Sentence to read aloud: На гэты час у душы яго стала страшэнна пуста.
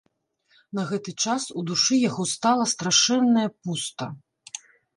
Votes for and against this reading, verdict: 1, 2, rejected